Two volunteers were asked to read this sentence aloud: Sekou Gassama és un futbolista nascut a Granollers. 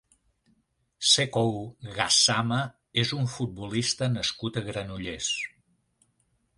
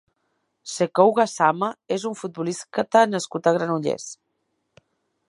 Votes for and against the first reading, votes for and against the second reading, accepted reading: 3, 0, 0, 2, first